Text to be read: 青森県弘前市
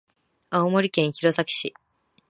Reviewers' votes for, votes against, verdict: 0, 2, rejected